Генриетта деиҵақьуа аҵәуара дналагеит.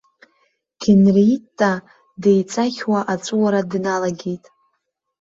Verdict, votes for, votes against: rejected, 1, 2